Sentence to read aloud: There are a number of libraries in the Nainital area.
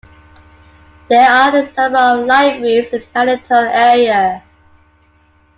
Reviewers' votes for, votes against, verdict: 1, 2, rejected